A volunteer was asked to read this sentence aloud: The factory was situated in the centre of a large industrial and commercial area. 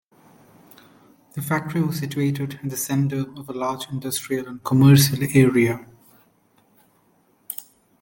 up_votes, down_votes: 2, 1